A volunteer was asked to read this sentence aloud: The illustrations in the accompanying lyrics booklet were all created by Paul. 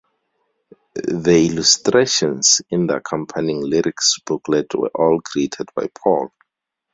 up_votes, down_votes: 0, 2